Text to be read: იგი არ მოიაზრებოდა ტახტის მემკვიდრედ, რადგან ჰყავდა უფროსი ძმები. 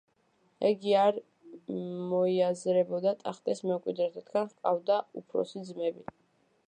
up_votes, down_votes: 0, 2